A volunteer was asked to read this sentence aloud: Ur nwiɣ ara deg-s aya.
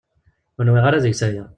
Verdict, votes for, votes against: accepted, 2, 0